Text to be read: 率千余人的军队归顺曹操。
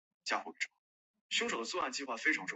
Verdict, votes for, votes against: rejected, 1, 2